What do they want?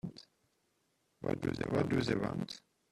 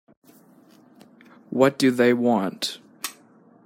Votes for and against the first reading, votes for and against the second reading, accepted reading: 0, 2, 2, 0, second